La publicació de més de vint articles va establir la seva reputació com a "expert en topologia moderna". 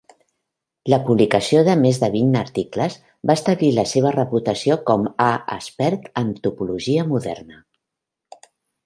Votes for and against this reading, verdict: 2, 0, accepted